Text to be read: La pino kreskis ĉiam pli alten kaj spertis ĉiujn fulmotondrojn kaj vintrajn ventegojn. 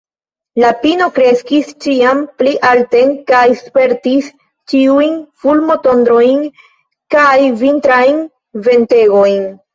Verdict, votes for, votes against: rejected, 1, 2